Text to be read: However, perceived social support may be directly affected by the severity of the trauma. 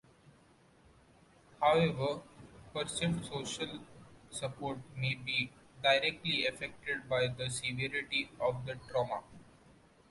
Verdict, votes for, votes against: accepted, 2, 0